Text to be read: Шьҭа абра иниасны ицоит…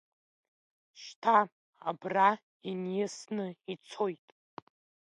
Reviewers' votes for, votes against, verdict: 0, 2, rejected